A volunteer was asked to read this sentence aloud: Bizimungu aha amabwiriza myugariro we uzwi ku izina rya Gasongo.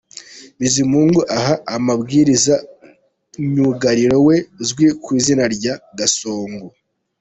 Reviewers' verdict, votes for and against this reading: accepted, 2, 0